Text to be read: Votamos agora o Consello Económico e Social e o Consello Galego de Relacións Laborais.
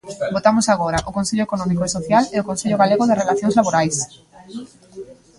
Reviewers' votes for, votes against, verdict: 1, 2, rejected